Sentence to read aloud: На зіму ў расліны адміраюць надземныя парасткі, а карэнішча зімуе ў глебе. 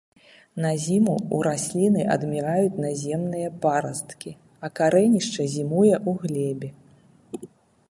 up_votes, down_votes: 1, 2